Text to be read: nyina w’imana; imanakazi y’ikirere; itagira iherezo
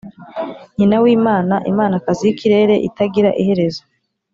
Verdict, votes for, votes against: accepted, 4, 0